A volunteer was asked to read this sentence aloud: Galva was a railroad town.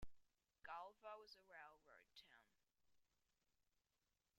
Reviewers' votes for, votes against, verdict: 0, 2, rejected